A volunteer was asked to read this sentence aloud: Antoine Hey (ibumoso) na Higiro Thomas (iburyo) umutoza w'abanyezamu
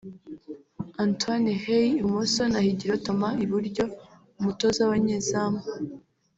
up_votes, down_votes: 1, 2